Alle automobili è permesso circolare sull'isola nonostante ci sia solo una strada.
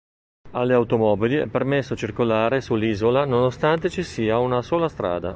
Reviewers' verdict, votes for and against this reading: rejected, 0, 3